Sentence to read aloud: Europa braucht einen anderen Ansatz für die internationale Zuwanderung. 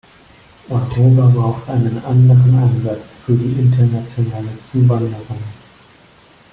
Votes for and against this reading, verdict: 2, 0, accepted